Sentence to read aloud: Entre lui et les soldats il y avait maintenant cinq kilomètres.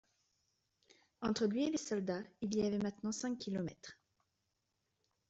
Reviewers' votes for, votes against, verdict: 2, 0, accepted